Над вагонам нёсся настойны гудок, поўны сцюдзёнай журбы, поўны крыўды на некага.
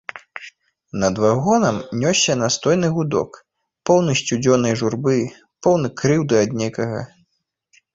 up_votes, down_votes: 0, 2